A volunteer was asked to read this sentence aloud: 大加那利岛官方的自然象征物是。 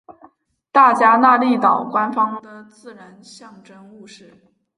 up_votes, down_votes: 0, 2